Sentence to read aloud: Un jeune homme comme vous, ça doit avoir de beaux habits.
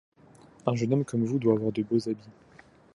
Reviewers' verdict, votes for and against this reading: rejected, 1, 2